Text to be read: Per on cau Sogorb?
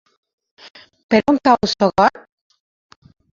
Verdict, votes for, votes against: rejected, 2, 3